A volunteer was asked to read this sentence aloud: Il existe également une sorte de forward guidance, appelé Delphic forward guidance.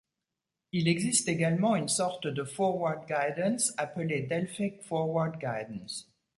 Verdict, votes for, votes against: accepted, 2, 0